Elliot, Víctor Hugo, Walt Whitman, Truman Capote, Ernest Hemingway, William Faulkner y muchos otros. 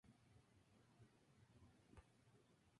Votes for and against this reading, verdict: 2, 0, accepted